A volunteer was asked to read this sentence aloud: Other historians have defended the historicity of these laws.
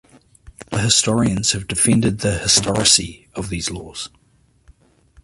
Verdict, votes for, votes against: rejected, 1, 2